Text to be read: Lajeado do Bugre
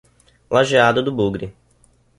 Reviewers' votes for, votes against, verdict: 2, 0, accepted